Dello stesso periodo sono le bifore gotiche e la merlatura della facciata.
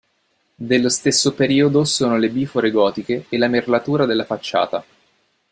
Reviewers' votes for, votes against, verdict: 2, 1, accepted